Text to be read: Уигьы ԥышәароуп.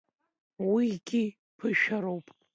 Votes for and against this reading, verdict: 2, 1, accepted